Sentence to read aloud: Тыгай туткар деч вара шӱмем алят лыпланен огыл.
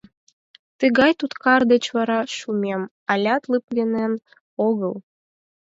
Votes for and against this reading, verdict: 0, 4, rejected